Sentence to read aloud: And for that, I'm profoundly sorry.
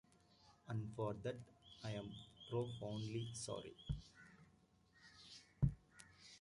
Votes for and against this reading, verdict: 0, 2, rejected